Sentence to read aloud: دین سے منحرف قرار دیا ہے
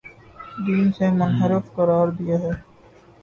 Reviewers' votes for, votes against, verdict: 1, 2, rejected